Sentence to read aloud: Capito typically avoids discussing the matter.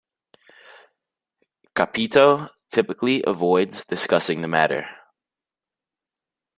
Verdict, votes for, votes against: accepted, 2, 0